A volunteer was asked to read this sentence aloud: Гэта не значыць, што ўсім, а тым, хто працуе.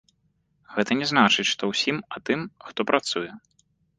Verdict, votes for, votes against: accepted, 2, 0